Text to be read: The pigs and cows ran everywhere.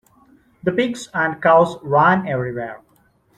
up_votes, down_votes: 1, 2